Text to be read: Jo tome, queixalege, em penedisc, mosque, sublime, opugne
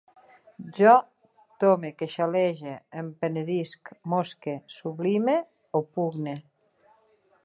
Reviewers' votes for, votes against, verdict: 2, 1, accepted